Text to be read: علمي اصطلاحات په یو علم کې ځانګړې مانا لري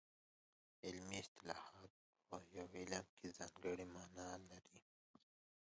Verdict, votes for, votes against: accepted, 2, 0